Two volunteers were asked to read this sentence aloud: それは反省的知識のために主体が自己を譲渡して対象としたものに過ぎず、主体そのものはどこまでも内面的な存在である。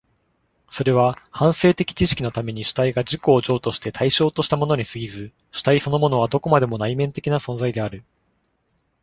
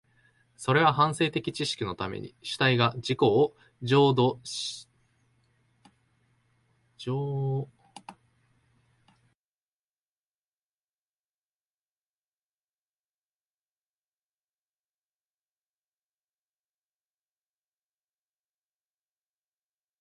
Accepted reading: first